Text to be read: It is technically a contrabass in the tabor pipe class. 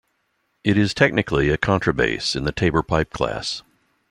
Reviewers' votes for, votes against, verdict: 2, 0, accepted